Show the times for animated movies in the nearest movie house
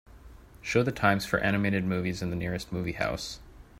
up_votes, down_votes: 2, 0